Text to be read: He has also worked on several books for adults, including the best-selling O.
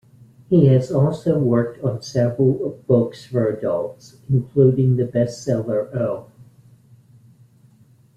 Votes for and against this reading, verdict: 3, 2, accepted